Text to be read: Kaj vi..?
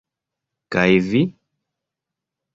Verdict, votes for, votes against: accepted, 2, 1